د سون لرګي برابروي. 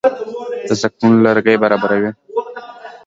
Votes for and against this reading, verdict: 0, 2, rejected